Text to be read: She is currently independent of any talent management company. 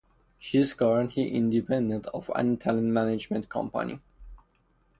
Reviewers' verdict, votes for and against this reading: accepted, 4, 2